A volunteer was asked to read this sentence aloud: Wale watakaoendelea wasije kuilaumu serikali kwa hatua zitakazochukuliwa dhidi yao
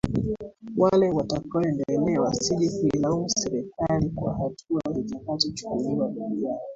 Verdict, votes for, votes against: rejected, 1, 2